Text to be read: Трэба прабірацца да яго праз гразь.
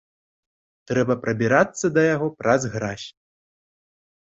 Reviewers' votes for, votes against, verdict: 2, 0, accepted